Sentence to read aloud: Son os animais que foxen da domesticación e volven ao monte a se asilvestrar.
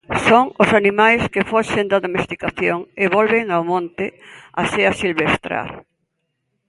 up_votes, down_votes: 2, 0